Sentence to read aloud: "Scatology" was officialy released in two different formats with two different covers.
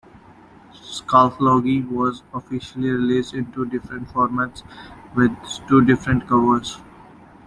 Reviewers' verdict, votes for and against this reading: accepted, 2, 0